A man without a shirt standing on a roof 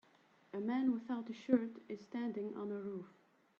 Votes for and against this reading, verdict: 0, 3, rejected